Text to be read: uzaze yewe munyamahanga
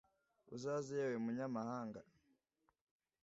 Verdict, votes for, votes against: accepted, 2, 0